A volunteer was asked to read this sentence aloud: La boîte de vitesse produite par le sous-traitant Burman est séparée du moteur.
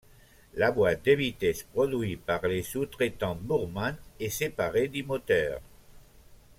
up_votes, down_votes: 2, 0